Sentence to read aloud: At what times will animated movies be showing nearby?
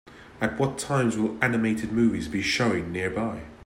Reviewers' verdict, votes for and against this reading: accepted, 2, 0